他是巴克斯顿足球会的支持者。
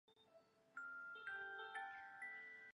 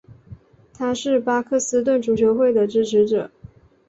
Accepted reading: second